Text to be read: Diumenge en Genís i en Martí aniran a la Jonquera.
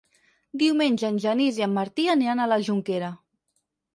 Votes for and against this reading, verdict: 6, 0, accepted